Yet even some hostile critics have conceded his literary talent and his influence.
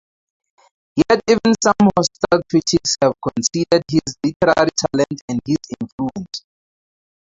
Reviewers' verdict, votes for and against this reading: rejected, 0, 2